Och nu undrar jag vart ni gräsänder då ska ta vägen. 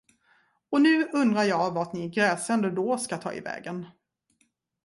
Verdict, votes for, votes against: rejected, 0, 2